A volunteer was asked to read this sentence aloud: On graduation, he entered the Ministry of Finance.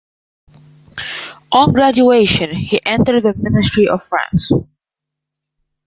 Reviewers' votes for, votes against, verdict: 2, 0, accepted